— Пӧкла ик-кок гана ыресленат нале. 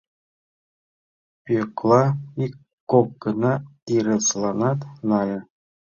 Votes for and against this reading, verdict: 1, 2, rejected